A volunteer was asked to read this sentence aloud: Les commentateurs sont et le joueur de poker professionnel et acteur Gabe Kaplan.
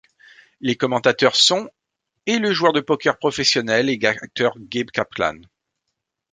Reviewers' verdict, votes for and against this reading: rejected, 1, 2